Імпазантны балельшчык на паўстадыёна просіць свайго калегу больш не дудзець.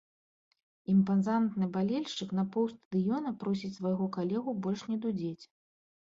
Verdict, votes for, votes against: rejected, 1, 2